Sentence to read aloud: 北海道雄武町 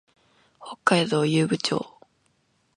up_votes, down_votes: 1, 2